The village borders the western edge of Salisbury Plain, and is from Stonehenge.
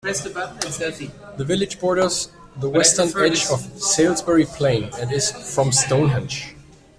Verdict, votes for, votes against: accepted, 2, 0